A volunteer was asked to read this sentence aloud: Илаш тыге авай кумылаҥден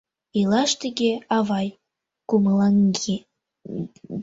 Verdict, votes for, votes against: rejected, 0, 2